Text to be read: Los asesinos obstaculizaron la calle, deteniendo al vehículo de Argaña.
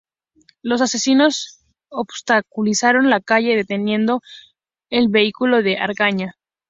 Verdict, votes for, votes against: accepted, 2, 0